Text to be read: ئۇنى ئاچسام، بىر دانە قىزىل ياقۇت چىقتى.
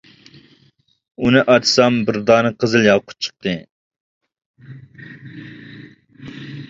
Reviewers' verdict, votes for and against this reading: accepted, 2, 0